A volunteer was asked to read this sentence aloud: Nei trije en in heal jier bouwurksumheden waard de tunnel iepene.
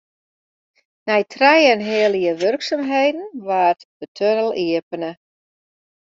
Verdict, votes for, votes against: rejected, 1, 2